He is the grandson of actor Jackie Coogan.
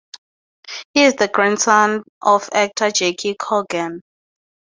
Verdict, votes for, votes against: accepted, 2, 0